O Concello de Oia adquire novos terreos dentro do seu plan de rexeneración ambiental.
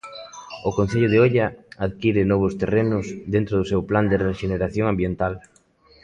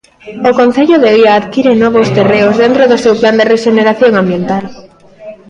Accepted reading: second